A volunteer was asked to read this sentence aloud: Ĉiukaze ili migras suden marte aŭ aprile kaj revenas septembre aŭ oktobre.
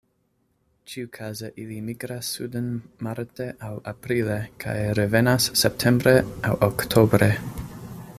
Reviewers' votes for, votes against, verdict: 2, 0, accepted